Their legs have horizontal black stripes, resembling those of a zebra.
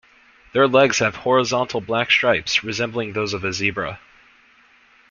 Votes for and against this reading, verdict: 2, 0, accepted